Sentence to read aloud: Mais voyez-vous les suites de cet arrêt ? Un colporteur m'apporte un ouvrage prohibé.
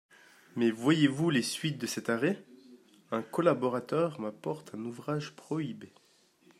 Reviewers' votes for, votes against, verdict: 0, 2, rejected